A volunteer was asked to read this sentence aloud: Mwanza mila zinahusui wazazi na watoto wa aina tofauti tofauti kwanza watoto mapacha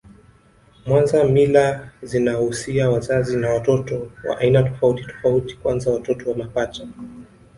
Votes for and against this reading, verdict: 1, 2, rejected